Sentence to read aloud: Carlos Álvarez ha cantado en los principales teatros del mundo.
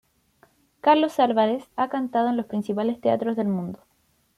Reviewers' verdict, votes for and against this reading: accepted, 2, 0